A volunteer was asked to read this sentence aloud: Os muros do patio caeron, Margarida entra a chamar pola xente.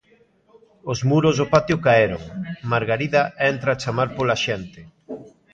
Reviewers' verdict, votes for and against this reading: accepted, 2, 1